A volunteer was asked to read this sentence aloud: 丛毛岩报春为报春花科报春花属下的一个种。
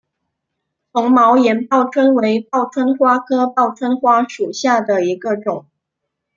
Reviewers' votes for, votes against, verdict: 2, 0, accepted